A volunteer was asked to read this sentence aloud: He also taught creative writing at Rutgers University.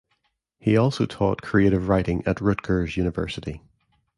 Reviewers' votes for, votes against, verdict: 2, 0, accepted